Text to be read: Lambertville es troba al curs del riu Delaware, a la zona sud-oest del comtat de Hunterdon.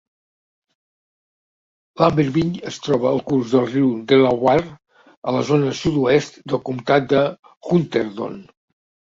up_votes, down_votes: 2, 0